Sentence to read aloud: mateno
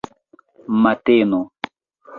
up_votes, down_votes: 2, 0